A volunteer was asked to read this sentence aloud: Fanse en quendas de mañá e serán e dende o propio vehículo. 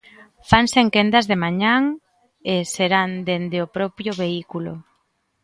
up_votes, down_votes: 0, 2